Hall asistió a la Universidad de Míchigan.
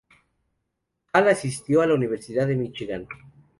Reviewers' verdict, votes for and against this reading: accepted, 2, 0